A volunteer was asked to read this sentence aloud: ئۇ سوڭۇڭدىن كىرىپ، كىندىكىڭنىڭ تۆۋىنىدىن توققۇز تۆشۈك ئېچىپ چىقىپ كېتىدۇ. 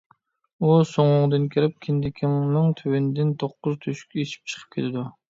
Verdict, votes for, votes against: accepted, 2, 0